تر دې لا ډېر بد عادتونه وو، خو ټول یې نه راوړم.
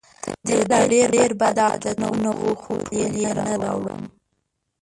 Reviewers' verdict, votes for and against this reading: rejected, 0, 2